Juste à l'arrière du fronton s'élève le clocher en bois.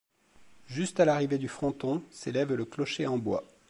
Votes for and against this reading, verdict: 1, 2, rejected